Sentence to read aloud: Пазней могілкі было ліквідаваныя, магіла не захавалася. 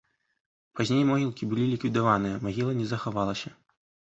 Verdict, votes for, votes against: accepted, 2, 0